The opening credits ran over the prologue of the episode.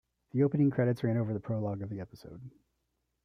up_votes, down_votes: 1, 2